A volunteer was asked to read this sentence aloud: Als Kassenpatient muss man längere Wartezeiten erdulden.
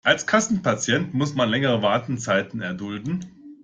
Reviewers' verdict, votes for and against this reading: rejected, 1, 2